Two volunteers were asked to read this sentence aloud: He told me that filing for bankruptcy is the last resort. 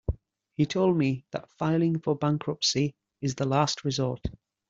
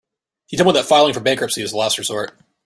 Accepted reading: first